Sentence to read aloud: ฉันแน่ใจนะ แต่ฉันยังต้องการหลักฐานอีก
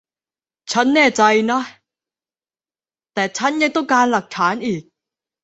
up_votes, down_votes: 0, 2